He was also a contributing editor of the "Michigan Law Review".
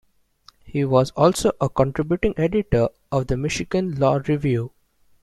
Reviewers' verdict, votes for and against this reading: accepted, 3, 0